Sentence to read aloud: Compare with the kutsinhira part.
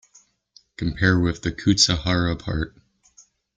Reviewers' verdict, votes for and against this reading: rejected, 1, 2